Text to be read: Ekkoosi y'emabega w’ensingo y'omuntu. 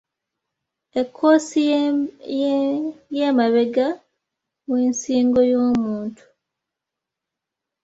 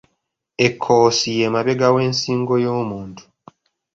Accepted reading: second